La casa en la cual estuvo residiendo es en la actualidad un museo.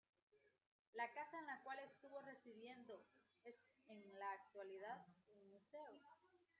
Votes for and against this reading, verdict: 0, 2, rejected